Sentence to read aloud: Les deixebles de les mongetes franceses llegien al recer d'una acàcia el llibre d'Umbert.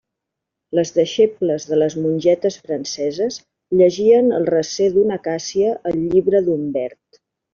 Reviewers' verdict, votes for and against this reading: accepted, 2, 0